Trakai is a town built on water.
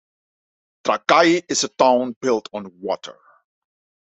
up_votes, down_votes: 1, 2